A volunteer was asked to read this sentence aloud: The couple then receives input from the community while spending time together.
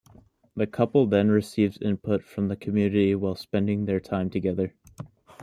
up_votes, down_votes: 0, 2